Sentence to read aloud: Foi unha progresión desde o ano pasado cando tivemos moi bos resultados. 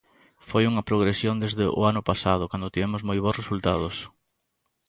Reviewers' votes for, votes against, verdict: 2, 0, accepted